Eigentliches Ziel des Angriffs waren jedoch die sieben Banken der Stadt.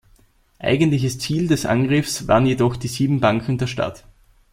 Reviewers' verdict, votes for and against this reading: accepted, 2, 0